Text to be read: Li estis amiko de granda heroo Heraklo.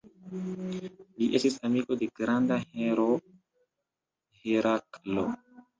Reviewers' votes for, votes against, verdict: 1, 2, rejected